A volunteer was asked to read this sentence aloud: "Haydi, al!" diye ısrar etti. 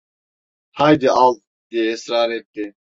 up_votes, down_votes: 2, 0